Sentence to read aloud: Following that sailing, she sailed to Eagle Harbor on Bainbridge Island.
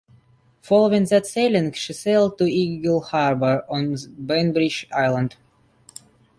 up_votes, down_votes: 1, 2